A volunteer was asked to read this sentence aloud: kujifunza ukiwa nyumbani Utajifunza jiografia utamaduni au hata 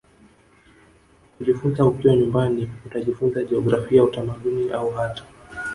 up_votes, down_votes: 2, 3